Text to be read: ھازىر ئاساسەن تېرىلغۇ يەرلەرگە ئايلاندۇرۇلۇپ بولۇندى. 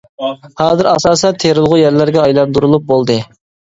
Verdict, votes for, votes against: rejected, 0, 2